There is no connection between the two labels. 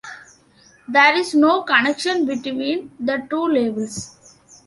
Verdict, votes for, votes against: accepted, 2, 0